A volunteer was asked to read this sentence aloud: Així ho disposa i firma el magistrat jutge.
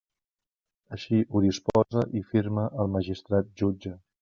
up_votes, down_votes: 3, 0